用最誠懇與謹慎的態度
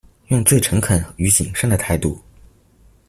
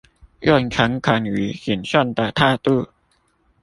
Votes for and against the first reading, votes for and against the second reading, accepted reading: 2, 0, 0, 2, first